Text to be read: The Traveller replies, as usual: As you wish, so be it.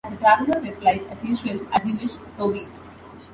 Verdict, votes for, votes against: accepted, 2, 1